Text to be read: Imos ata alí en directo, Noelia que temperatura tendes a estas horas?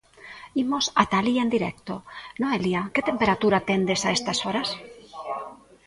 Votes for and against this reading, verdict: 1, 2, rejected